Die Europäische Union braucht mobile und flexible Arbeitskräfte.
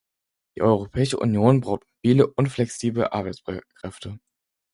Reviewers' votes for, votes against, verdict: 0, 4, rejected